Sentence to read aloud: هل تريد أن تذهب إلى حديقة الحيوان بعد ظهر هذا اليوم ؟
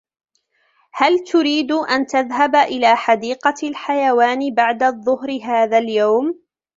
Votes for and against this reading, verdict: 1, 2, rejected